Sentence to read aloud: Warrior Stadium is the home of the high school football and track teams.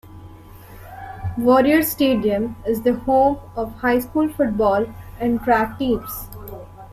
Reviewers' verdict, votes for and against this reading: rejected, 1, 2